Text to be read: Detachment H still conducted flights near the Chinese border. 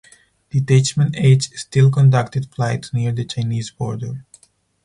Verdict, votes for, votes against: accepted, 4, 2